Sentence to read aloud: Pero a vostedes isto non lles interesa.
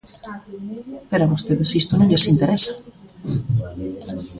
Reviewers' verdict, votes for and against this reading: accepted, 2, 0